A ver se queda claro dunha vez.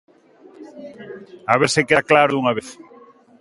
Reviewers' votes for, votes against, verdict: 2, 1, accepted